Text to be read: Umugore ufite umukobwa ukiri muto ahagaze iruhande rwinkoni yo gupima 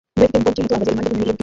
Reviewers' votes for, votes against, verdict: 0, 2, rejected